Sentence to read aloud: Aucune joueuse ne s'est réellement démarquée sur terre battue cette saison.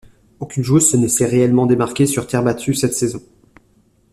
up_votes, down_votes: 1, 2